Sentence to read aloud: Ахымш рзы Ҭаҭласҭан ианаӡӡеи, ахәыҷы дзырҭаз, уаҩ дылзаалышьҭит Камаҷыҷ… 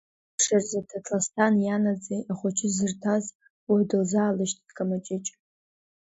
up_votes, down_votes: 0, 2